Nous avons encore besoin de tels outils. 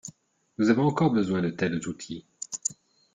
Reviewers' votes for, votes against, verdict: 2, 0, accepted